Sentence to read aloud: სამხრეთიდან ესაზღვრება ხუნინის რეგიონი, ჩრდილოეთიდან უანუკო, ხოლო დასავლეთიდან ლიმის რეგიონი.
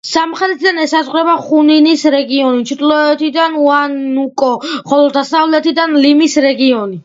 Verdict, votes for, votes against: accepted, 2, 1